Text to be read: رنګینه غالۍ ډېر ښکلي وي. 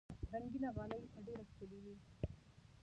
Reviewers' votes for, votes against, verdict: 1, 2, rejected